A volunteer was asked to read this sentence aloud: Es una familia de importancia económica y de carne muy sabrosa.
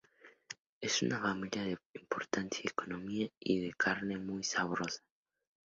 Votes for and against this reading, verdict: 0, 2, rejected